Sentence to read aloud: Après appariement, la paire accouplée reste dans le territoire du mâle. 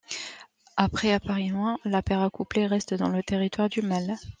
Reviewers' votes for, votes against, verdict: 2, 0, accepted